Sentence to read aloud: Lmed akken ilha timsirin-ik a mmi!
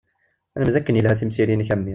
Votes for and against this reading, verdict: 1, 2, rejected